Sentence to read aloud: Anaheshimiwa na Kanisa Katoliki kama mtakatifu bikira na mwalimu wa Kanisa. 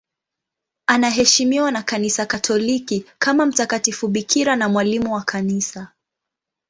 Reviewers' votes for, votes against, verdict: 2, 0, accepted